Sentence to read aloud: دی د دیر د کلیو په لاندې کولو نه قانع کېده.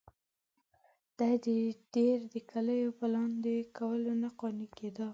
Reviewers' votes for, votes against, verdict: 0, 2, rejected